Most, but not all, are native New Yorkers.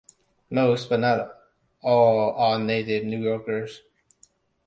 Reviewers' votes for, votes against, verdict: 2, 0, accepted